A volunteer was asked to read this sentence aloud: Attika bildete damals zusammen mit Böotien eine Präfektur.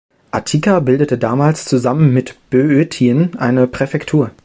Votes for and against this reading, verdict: 2, 1, accepted